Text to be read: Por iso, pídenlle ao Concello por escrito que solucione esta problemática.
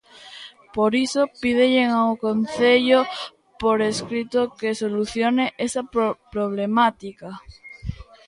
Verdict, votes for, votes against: rejected, 0, 2